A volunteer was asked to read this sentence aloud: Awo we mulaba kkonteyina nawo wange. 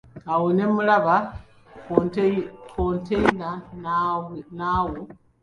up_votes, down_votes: 0, 2